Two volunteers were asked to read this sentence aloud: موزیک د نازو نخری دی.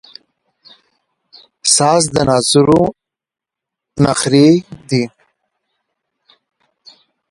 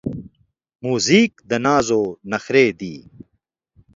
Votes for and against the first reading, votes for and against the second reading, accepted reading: 2, 1, 0, 2, first